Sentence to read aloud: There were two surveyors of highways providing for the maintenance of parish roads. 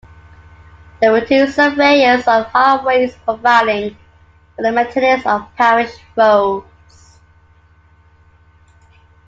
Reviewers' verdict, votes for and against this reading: accepted, 2, 1